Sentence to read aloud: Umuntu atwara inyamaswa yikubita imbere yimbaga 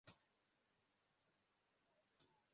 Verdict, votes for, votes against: rejected, 0, 2